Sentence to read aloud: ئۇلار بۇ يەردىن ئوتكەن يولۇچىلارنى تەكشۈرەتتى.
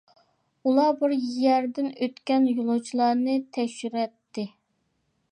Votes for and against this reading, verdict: 0, 2, rejected